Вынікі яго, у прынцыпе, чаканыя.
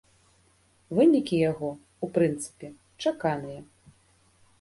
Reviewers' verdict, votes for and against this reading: rejected, 1, 2